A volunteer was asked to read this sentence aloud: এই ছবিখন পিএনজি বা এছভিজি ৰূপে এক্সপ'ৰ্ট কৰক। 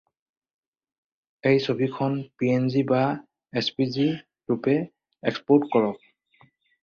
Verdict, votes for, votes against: rejected, 2, 2